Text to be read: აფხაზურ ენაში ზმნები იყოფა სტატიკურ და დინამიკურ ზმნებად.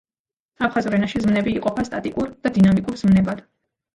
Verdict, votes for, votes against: accepted, 2, 0